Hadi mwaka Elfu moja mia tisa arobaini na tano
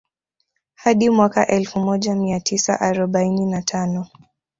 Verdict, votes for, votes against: accepted, 3, 0